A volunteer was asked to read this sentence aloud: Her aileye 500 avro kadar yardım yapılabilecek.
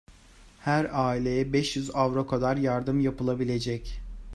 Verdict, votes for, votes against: rejected, 0, 2